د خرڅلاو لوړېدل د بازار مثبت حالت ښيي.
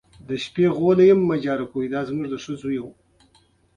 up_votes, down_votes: 0, 3